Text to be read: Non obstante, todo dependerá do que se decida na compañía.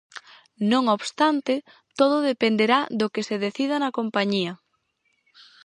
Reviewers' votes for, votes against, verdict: 4, 0, accepted